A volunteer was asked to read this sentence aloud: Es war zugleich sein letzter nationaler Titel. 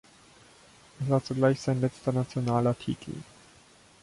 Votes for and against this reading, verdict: 1, 2, rejected